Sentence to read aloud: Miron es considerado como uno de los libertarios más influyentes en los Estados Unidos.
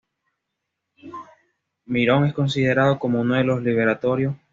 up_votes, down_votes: 1, 2